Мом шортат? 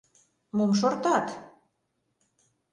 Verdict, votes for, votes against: accepted, 2, 0